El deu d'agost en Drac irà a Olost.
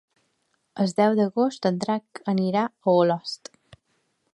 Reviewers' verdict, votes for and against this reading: rejected, 0, 3